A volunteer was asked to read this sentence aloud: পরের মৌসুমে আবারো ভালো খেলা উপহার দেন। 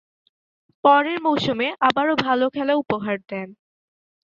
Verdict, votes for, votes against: accepted, 6, 1